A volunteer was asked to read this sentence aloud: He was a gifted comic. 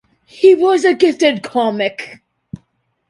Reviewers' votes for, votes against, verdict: 2, 0, accepted